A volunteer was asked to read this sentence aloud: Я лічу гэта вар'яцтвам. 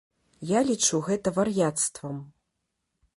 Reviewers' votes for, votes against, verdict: 2, 0, accepted